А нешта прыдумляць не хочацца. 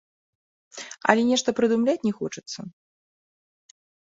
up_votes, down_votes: 1, 2